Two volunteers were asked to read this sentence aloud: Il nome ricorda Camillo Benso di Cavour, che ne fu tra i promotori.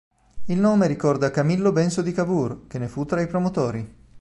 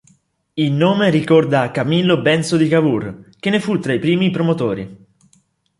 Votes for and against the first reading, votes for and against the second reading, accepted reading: 2, 0, 1, 2, first